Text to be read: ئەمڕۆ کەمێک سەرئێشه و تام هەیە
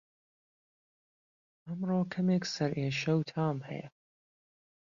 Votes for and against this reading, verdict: 1, 2, rejected